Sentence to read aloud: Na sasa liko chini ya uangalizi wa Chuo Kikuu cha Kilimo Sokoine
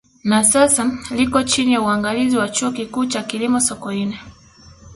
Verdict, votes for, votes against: rejected, 1, 2